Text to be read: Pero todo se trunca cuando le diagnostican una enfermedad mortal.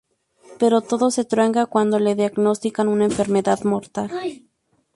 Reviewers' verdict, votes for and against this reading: rejected, 2, 2